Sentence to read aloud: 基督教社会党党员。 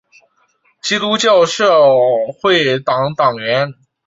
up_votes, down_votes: 2, 1